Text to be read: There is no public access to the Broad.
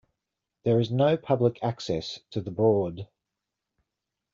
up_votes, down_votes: 2, 0